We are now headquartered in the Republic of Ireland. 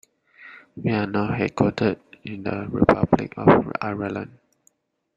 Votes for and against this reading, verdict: 0, 2, rejected